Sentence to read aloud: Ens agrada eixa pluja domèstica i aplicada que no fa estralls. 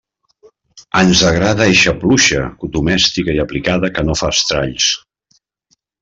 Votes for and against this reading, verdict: 2, 0, accepted